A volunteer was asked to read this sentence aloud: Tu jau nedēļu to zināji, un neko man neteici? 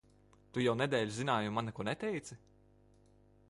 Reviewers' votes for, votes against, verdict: 0, 2, rejected